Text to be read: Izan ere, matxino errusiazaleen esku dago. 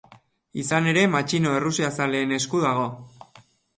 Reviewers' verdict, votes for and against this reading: accepted, 6, 0